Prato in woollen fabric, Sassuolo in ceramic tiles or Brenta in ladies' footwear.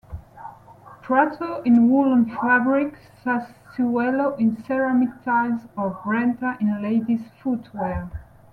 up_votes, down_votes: 2, 0